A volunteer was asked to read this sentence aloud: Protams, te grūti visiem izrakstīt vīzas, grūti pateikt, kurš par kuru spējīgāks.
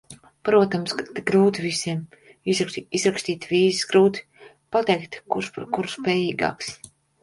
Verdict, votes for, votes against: rejected, 0, 2